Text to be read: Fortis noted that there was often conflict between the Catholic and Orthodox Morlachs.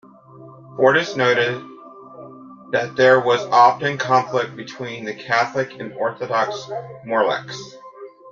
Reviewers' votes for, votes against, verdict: 2, 0, accepted